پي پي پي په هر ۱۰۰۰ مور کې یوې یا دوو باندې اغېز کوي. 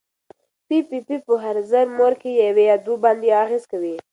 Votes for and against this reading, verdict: 0, 2, rejected